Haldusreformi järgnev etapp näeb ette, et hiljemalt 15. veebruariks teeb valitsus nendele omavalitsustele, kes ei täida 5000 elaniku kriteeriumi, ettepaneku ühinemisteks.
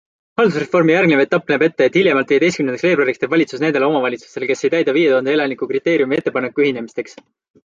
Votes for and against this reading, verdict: 0, 2, rejected